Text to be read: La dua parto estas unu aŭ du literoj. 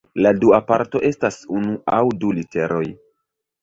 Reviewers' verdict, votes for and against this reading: rejected, 0, 2